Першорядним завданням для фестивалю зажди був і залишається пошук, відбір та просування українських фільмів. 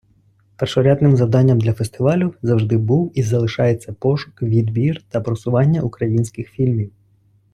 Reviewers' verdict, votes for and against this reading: accepted, 2, 0